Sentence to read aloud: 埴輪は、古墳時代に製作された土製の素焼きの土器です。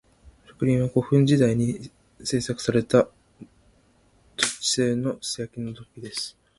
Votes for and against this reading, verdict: 0, 2, rejected